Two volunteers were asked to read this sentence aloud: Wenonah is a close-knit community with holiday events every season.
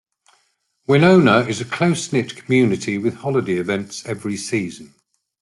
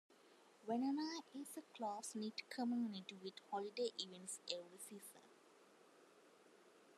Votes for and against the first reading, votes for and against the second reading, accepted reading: 2, 0, 0, 2, first